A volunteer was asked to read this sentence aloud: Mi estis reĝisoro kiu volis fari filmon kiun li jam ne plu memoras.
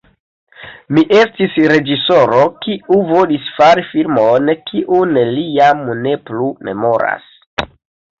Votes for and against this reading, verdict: 1, 2, rejected